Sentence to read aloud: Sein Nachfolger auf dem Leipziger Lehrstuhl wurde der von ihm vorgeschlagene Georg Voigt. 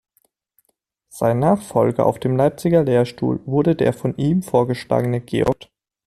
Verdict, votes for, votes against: rejected, 0, 2